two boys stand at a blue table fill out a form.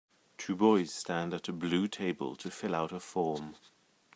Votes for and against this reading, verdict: 0, 2, rejected